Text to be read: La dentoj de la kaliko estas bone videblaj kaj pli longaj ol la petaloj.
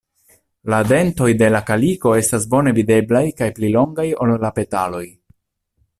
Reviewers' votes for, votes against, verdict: 2, 0, accepted